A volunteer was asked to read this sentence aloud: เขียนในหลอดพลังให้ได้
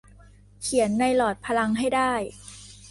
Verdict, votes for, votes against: accepted, 2, 0